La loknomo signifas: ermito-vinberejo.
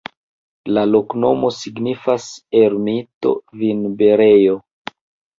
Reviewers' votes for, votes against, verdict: 0, 2, rejected